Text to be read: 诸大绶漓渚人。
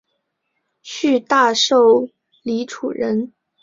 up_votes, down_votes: 2, 1